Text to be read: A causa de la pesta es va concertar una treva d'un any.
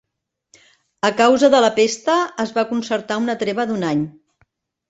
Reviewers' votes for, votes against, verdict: 2, 0, accepted